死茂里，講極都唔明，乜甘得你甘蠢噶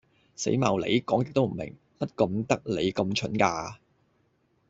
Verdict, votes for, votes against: rejected, 1, 2